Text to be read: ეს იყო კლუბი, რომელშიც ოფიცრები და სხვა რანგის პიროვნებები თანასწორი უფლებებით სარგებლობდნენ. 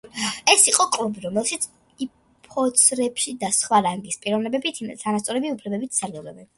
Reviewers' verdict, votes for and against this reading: rejected, 1, 2